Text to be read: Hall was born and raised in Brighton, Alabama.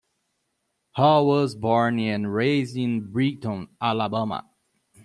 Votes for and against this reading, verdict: 0, 2, rejected